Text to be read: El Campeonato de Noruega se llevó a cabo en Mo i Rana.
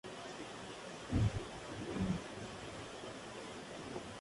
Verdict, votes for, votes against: rejected, 0, 2